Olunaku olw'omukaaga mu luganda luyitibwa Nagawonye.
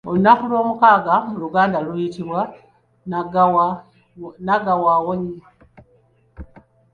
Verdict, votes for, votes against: rejected, 0, 2